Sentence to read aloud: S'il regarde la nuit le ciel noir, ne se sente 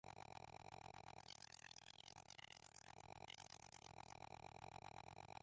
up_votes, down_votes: 0, 2